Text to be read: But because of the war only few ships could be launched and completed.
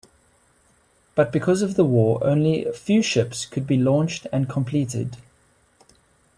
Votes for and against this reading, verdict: 2, 1, accepted